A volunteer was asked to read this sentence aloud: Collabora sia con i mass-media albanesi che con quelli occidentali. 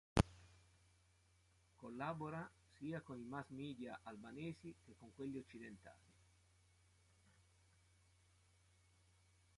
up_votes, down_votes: 0, 3